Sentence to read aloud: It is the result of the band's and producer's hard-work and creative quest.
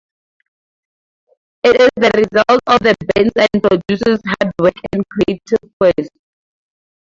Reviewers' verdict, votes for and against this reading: rejected, 0, 2